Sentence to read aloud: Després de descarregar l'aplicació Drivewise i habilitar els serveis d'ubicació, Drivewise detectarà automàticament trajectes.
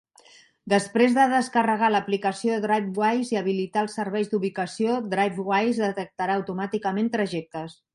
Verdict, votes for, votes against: accepted, 2, 0